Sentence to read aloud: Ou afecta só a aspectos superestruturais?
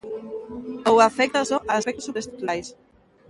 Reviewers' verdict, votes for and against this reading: rejected, 0, 2